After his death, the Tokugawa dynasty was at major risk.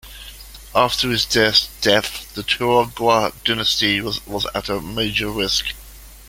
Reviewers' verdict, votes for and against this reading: rejected, 0, 2